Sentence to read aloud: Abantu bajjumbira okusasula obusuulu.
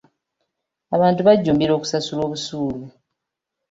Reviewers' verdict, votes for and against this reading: accepted, 2, 0